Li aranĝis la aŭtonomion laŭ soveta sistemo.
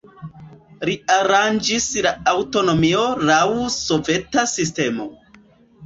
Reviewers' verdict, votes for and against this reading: rejected, 1, 2